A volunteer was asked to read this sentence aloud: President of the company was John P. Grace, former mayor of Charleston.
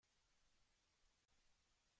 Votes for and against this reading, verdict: 0, 2, rejected